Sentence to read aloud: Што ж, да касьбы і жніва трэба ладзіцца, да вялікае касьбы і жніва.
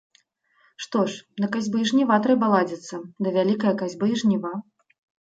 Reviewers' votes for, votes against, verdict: 2, 0, accepted